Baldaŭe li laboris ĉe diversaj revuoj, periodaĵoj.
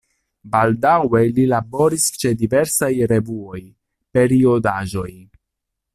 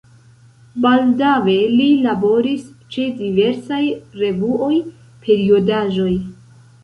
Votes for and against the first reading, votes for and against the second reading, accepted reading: 2, 0, 0, 3, first